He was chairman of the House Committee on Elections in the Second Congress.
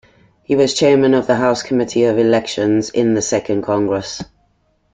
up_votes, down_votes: 0, 2